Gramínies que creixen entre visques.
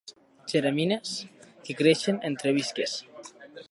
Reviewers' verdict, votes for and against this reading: rejected, 0, 2